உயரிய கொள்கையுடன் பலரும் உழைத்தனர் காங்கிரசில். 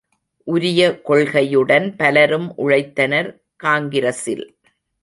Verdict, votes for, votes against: accepted, 2, 0